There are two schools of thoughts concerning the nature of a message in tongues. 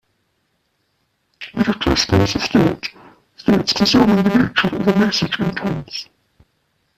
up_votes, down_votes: 0, 2